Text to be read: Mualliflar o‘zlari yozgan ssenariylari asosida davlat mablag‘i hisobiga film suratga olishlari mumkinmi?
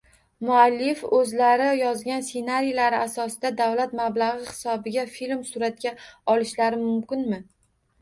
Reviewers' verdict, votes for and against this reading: rejected, 1, 2